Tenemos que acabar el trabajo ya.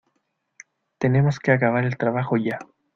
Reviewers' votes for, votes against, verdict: 2, 1, accepted